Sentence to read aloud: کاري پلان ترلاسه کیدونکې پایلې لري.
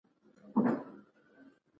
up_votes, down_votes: 2, 1